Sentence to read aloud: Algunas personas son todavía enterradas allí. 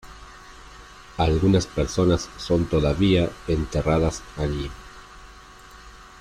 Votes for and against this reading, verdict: 2, 1, accepted